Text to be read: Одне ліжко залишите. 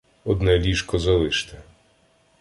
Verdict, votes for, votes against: rejected, 1, 2